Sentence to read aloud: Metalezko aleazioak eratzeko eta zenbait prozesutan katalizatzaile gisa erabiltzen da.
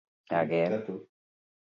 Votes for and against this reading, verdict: 2, 0, accepted